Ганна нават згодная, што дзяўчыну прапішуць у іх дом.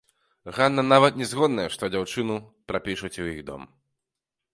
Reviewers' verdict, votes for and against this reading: rejected, 1, 2